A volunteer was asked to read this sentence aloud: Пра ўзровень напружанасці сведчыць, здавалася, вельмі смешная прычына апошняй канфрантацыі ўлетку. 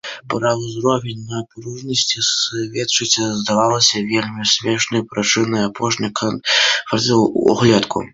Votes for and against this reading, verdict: 0, 2, rejected